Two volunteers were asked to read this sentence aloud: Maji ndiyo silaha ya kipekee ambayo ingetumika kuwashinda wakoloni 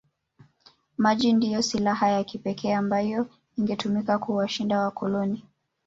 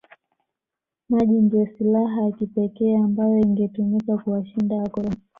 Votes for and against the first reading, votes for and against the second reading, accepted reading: 1, 2, 2, 0, second